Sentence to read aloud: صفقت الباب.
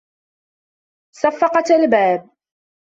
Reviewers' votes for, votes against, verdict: 1, 2, rejected